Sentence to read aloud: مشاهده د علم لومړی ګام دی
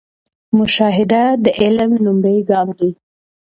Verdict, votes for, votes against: rejected, 0, 2